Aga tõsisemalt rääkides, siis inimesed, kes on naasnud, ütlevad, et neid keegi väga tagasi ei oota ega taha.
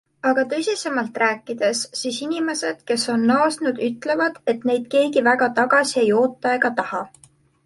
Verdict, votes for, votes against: accepted, 2, 0